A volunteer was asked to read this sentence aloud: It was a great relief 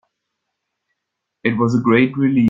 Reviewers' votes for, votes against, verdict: 0, 2, rejected